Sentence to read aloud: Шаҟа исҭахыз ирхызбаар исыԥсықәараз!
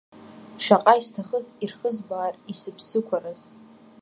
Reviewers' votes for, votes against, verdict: 2, 0, accepted